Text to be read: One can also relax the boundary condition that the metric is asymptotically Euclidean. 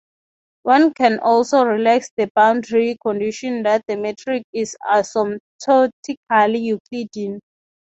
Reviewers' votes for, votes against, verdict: 0, 3, rejected